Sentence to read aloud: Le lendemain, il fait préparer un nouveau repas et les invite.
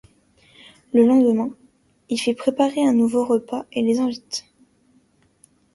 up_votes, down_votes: 2, 0